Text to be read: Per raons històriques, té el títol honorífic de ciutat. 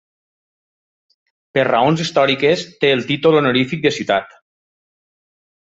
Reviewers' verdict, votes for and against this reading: accepted, 3, 0